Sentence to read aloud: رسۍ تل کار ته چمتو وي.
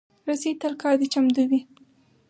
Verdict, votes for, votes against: accepted, 4, 0